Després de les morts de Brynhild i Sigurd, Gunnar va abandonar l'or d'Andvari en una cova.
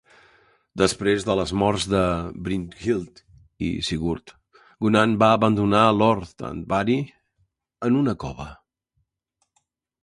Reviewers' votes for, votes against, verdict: 0, 2, rejected